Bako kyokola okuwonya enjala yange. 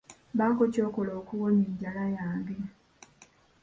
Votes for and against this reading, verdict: 2, 0, accepted